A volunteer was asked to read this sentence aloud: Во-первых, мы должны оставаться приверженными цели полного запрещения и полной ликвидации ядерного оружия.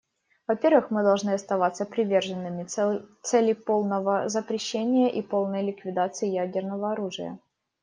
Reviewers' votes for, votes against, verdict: 0, 2, rejected